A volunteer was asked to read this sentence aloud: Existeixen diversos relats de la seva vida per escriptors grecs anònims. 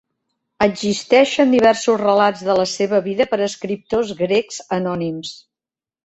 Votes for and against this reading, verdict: 3, 0, accepted